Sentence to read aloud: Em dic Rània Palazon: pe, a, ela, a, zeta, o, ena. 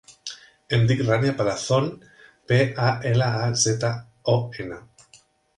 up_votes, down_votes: 2, 0